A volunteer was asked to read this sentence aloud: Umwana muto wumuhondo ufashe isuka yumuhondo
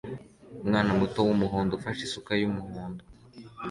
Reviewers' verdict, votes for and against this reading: accepted, 2, 0